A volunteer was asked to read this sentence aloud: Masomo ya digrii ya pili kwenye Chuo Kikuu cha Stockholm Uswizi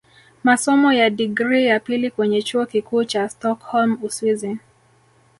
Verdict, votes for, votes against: rejected, 2, 3